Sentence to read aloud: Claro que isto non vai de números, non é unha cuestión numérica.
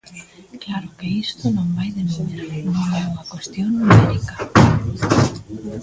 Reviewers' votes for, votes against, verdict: 0, 3, rejected